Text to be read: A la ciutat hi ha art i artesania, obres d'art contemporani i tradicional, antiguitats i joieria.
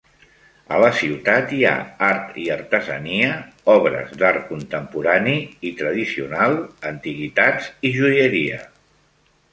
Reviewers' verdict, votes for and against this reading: accepted, 3, 0